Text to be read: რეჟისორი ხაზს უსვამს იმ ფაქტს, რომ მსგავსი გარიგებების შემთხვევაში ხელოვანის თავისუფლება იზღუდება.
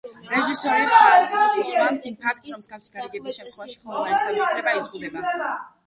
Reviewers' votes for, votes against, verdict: 0, 2, rejected